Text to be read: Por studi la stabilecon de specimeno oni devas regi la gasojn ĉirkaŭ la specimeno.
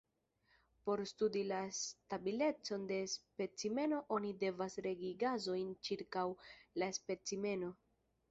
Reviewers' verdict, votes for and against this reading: rejected, 1, 2